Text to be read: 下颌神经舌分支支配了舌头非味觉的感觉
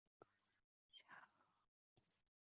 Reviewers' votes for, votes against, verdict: 0, 3, rejected